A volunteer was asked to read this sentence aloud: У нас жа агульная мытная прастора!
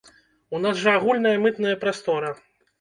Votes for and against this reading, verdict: 2, 0, accepted